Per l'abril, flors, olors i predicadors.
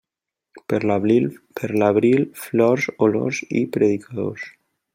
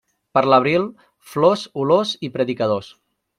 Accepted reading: second